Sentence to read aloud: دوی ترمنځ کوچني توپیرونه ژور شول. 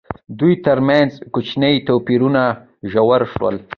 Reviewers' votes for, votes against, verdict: 2, 1, accepted